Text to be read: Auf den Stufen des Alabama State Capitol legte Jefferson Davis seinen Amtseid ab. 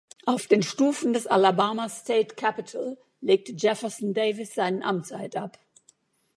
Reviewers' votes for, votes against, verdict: 2, 0, accepted